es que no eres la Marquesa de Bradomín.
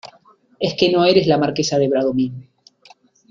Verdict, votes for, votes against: accepted, 2, 0